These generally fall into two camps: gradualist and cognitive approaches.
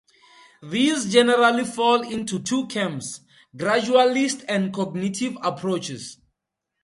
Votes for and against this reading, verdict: 2, 0, accepted